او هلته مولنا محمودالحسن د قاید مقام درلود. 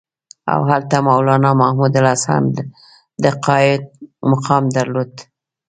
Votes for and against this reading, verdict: 2, 0, accepted